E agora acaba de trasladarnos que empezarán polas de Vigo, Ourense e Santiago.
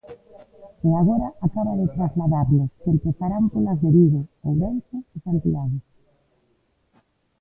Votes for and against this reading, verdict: 2, 1, accepted